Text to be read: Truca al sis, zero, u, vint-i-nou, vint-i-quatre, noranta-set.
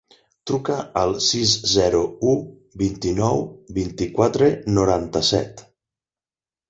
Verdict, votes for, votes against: accepted, 8, 0